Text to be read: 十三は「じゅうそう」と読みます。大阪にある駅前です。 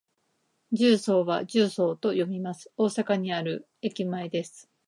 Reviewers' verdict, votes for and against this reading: accepted, 2, 0